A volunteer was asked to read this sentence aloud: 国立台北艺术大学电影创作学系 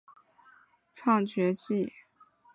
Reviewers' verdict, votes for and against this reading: rejected, 0, 3